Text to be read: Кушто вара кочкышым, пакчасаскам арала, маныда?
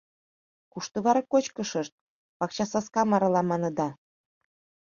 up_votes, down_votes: 1, 2